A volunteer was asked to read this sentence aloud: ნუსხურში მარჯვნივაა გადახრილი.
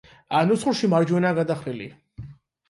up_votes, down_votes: 0, 8